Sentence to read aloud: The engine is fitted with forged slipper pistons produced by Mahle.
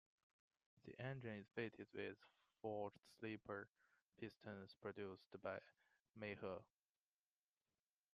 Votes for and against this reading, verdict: 0, 2, rejected